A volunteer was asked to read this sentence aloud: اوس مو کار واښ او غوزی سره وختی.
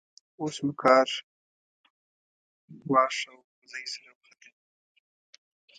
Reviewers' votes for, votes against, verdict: 1, 2, rejected